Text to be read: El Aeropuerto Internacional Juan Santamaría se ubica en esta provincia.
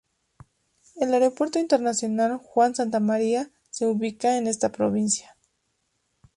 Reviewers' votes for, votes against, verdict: 2, 0, accepted